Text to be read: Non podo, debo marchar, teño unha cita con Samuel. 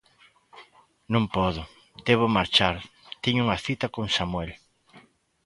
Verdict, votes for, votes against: accepted, 2, 0